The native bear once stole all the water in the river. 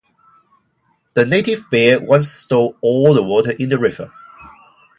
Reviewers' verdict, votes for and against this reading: accepted, 2, 0